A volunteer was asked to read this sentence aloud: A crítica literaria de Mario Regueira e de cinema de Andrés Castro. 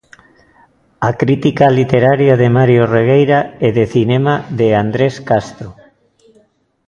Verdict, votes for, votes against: accepted, 2, 0